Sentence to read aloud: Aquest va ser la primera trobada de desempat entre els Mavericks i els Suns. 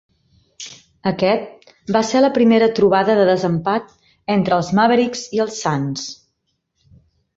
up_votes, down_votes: 2, 0